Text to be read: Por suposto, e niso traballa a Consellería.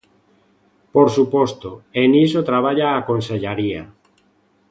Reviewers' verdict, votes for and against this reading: rejected, 0, 2